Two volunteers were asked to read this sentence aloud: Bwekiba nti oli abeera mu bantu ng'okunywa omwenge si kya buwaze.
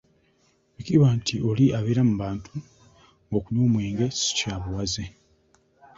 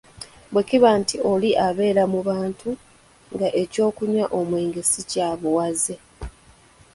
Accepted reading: first